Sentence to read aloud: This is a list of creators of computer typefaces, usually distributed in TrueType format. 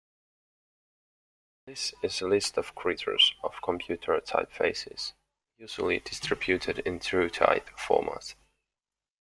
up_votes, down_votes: 2, 0